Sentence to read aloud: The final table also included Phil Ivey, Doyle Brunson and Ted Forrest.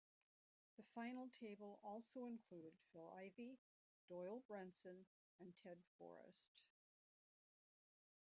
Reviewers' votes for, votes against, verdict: 0, 2, rejected